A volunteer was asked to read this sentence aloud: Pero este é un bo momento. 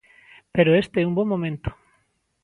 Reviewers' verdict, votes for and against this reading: accepted, 2, 0